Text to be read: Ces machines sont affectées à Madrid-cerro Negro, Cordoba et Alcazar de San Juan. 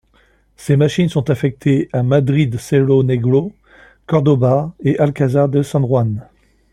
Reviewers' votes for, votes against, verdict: 2, 0, accepted